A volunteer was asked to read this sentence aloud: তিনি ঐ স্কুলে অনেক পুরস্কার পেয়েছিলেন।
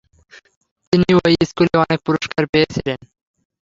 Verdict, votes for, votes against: rejected, 0, 3